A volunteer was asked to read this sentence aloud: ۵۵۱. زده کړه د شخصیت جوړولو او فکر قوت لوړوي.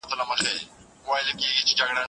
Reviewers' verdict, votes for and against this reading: rejected, 0, 2